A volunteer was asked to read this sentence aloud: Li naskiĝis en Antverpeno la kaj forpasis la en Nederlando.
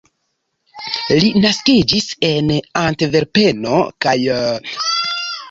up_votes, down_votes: 1, 3